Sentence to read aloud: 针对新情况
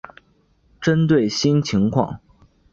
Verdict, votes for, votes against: rejected, 3, 4